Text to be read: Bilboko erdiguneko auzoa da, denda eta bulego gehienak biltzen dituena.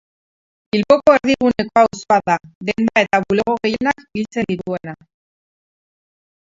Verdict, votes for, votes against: rejected, 0, 4